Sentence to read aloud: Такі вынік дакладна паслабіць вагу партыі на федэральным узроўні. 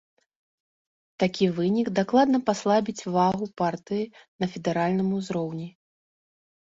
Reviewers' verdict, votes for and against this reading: rejected, 1, 2